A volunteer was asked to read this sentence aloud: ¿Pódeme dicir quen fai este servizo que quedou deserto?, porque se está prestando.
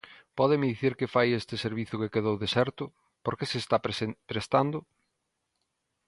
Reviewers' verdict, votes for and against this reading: rejected, 0, 2